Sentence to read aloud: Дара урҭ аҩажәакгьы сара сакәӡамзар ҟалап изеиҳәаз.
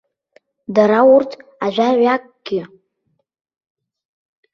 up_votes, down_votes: 0, 2